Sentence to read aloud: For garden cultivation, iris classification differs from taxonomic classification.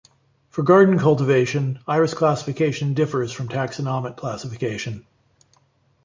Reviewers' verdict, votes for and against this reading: accepted, 2, 0